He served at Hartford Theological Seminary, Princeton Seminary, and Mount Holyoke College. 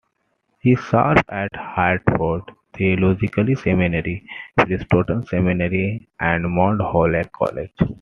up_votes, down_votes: 2, 0